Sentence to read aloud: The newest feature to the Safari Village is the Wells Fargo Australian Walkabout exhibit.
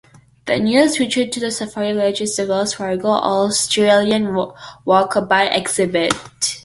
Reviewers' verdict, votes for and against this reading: rejected, 1, 2